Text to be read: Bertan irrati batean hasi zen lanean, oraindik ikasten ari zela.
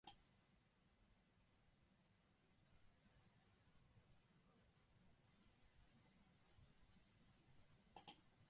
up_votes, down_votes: 0, 4